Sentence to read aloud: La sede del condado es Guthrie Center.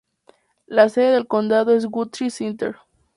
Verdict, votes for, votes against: accepted, 2, 0